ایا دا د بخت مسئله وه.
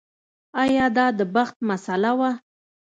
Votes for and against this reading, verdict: 2, 0, accepted